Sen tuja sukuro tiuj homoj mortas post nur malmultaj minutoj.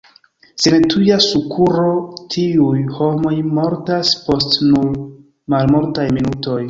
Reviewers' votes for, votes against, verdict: 0, 2, rejected